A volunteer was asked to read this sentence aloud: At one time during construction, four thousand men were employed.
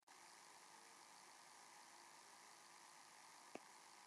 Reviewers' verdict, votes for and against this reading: rejected, 0, 2